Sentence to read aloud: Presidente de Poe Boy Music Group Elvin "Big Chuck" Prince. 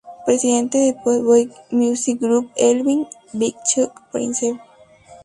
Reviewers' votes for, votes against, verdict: 2, 2, rejected